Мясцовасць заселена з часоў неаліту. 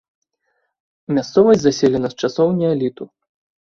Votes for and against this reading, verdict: 2, 0, accepted